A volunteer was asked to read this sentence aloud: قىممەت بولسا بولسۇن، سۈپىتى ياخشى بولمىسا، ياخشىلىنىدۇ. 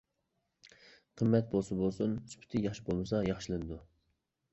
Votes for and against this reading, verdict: 2, 0, accepted